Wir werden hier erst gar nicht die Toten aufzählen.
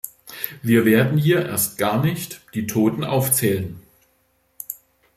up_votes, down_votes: 2, 0